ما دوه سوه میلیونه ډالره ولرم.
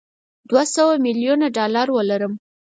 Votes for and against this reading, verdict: 2, 4, rejected